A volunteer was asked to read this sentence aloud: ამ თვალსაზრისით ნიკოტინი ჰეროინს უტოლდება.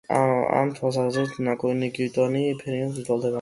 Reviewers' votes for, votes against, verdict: 0, 2, rejected